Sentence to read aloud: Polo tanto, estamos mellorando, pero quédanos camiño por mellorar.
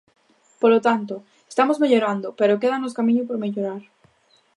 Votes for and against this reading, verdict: 2, 0, accepted